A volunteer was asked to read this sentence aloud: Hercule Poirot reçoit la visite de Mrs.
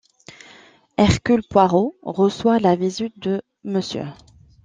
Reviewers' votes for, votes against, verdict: 0, 2, rejected